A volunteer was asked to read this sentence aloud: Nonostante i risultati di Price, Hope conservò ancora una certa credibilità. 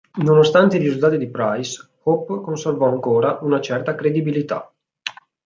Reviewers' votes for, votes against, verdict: 2, 0, accepted